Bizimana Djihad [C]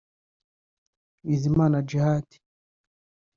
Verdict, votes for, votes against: rejected, 1, 2